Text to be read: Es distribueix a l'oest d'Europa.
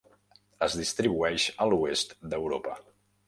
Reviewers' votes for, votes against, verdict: 2, 0, accepted